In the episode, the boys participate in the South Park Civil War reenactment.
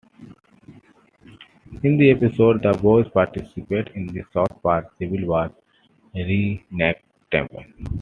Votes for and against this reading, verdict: 2, 0, accepted